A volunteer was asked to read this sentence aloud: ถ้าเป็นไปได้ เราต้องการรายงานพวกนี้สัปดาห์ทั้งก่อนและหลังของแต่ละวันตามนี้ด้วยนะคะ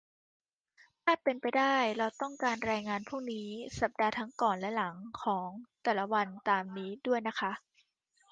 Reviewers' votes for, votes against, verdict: 3, 0, accepted